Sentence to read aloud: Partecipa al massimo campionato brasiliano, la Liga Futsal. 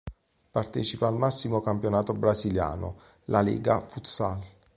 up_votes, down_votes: 2, 0